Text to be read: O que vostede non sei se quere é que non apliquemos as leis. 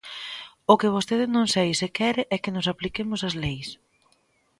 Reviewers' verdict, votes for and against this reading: rejected, 0, 2